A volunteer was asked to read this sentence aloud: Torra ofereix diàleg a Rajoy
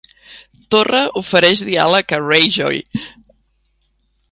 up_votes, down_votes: 1, 2